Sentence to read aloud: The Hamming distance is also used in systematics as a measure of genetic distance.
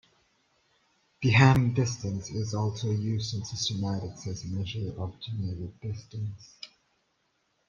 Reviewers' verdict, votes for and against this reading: rejected, 1, 2